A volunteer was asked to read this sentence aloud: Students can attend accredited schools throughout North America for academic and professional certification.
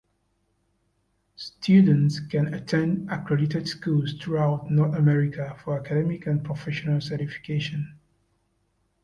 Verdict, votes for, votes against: accepted, 2, 1